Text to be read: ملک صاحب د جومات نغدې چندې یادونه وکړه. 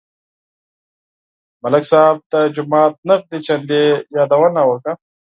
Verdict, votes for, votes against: accepted, 4, 0